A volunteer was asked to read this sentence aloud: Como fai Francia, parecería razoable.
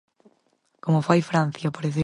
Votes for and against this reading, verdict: 0, 4, rejected